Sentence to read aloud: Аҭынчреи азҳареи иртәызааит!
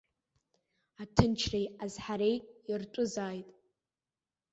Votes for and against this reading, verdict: 0, 2, rejected